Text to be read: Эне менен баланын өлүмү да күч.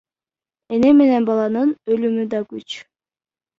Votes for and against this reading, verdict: 0, 2, rejected